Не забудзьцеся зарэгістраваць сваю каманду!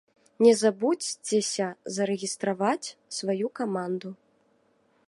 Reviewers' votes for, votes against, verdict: 1, 2, rejected